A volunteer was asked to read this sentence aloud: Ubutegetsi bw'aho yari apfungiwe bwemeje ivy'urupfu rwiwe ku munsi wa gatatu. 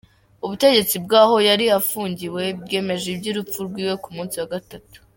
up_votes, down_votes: 1, 2